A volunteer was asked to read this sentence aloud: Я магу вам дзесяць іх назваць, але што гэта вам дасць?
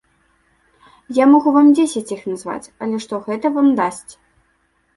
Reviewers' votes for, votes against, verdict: 2, 0, accepted